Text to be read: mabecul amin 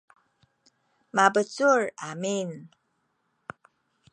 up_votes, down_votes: 2, 0